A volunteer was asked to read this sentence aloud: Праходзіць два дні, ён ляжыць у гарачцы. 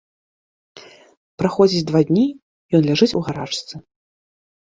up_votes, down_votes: 2, 0